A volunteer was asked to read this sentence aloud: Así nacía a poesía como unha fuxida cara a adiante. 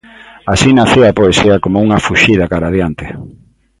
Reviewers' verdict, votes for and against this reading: accepted, 2, 0